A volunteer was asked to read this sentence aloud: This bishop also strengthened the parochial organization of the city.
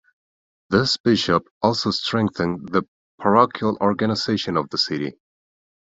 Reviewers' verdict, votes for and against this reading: rejected, 1, 2